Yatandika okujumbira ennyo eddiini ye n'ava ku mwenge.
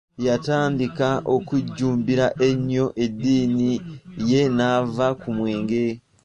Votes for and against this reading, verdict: 2, 3, rejected